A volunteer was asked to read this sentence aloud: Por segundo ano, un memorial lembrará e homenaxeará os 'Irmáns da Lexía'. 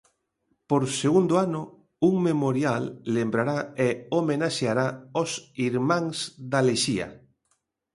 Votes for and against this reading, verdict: 3, 0, accepted